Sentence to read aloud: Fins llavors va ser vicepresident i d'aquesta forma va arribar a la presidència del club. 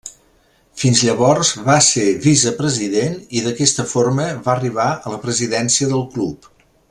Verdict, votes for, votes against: accepted, 3, 0